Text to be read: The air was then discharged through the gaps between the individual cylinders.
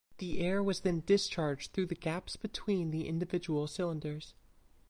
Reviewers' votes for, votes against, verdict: 2, 0, accepted